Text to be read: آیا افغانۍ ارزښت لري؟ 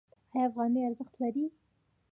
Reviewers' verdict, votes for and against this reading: rejected, 1, 2